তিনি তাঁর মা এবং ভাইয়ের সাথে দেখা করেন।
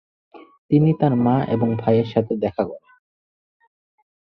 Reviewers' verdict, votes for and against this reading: accepted, 4, 2